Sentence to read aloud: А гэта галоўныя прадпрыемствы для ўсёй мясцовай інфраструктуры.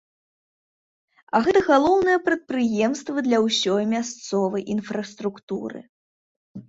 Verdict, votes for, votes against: accepted, 2, 0